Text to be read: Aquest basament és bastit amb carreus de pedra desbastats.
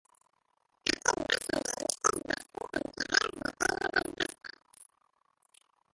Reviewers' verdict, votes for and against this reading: rejected, 0, 2